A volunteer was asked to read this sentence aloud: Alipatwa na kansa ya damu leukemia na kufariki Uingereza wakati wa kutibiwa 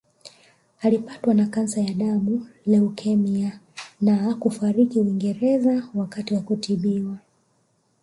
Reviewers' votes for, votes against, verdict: 0, 2, rejected